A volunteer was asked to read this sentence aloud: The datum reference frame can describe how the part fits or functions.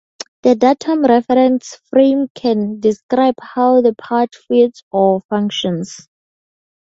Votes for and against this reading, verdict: 2, 0, accepted